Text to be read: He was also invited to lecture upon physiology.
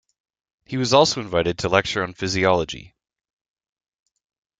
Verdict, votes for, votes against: rejected, 0, 2